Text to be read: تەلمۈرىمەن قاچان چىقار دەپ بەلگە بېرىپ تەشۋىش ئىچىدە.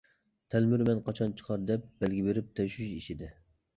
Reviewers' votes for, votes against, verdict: 2, 0, accepted